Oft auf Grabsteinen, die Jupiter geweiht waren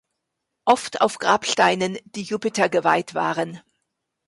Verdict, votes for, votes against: rejected, 1, 2